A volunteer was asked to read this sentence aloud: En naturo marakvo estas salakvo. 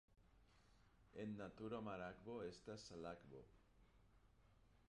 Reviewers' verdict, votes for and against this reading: rejected, 0, 2